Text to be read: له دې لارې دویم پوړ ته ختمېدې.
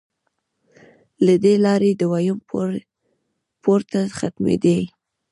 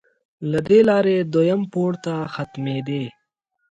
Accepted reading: second